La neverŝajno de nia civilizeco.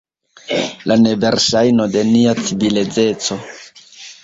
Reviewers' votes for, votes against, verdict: 1, 2, rejected